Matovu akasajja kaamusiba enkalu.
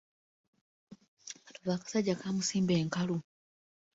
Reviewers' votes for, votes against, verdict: 1, 2, rejected